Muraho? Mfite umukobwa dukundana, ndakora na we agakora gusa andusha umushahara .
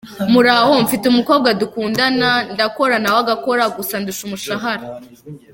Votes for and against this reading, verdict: 2, 1, accepted